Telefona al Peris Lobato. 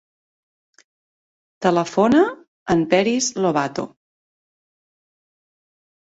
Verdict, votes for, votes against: accepted, 2, 0